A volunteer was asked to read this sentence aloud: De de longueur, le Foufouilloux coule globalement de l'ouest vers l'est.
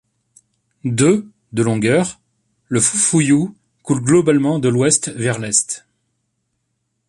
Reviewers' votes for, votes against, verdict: 2, 0, accepted